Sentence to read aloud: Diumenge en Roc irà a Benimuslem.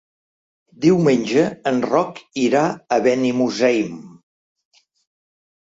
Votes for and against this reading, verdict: 0, 2, rejected